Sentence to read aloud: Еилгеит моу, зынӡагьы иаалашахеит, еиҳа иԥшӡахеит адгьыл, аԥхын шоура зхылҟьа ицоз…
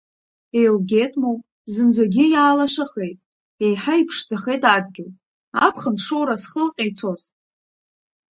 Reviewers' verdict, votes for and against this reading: accepted, 2, 0